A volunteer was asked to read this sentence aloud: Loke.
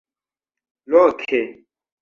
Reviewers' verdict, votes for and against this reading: rejected, 1, 2